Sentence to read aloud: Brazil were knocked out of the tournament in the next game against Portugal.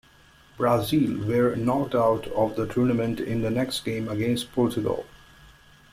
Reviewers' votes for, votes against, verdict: 1, 2, rejected